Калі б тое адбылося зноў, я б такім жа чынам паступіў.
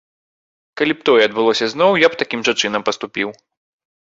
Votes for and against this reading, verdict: 2, 0, accepted